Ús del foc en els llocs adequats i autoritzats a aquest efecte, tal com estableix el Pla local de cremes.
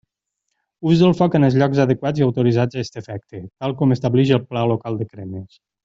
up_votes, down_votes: 1, 2